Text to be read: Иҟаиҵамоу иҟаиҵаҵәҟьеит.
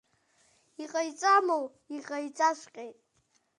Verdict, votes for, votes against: rejected, 1, 2